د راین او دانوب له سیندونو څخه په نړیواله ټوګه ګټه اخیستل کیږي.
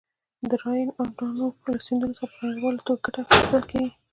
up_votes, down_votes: 1, 2